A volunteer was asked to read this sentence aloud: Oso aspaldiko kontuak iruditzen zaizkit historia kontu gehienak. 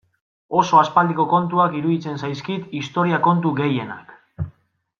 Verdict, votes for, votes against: accepted, 2, 0